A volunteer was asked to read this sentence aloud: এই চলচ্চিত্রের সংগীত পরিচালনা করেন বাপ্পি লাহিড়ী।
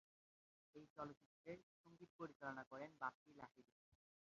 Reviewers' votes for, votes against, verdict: 0, 2, rejected